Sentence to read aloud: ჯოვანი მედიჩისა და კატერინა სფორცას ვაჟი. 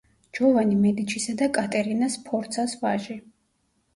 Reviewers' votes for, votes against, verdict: 1, 2, rejected